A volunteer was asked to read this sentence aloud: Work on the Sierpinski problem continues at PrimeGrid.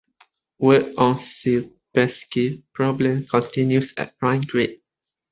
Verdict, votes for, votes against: rejected, 1, 2